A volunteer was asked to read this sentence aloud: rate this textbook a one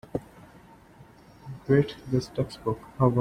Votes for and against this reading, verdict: 1, 2, rejected